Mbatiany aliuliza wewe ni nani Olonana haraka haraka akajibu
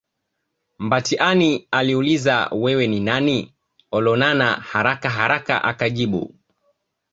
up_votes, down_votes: 0, 2